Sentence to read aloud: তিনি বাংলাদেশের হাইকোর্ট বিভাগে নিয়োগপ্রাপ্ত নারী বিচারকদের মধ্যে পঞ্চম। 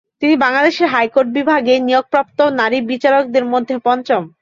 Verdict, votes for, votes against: accepted, 6, 0